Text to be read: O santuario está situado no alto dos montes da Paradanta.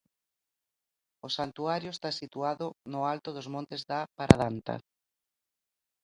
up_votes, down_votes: 2, 0